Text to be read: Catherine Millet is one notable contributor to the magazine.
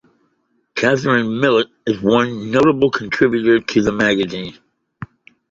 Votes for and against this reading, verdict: 2, 0, accepted